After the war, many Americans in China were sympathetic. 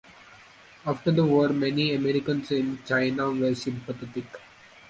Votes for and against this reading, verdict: 2, 0, accepted